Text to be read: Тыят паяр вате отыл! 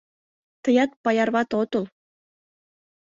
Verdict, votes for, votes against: accepted, 2, 0